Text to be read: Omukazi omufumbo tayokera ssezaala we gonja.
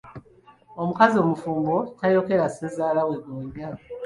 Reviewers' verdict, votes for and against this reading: accepted, 2, 1